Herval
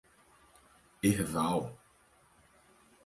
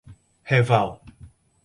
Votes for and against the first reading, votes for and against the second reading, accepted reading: 4, 0, 2, 2, first